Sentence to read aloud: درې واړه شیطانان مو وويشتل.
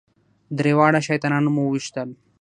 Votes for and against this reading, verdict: 3, 6, rejected